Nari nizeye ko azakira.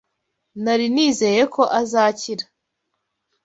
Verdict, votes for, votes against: accepted, 2, 0